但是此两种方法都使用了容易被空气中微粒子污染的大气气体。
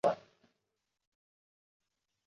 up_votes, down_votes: 0, 3